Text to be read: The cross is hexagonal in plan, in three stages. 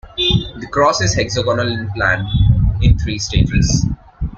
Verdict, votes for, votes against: accepted, 2, 0